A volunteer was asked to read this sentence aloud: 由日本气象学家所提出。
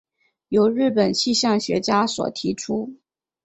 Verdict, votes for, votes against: accepted, 4, 0